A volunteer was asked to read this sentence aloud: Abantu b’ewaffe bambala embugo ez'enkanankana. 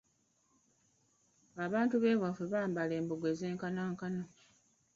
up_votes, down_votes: 0, 2